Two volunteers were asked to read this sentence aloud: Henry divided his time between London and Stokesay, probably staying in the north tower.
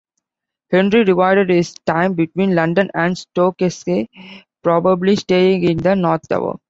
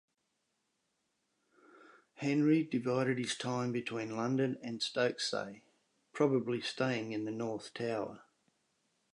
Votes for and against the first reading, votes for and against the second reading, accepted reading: 0, 2, 2, 0, second